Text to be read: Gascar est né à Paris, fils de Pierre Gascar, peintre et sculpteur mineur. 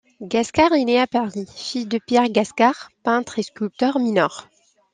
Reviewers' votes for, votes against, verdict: 2, 0, accepted